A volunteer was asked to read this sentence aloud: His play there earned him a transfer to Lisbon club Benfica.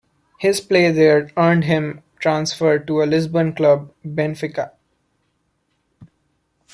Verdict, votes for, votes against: rejected, 0, 2